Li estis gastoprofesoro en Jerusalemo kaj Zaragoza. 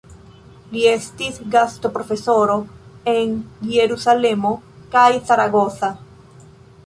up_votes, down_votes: 1, 2